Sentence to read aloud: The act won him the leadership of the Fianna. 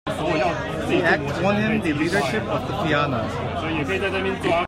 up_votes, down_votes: 0, 2